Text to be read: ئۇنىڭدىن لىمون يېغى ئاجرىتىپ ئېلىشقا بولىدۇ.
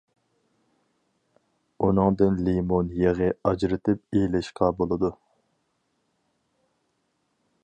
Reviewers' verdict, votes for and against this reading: accepted, 4, 0